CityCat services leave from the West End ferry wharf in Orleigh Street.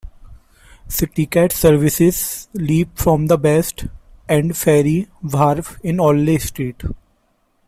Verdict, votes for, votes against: accepted, 2, 0